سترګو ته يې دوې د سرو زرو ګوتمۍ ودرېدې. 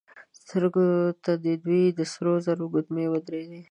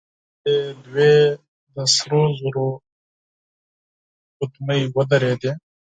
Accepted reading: first